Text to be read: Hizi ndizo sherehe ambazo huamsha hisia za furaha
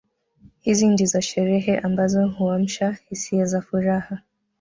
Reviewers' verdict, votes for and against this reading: accepted, 2, 1